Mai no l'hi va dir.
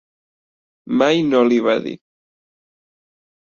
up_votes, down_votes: 2, 0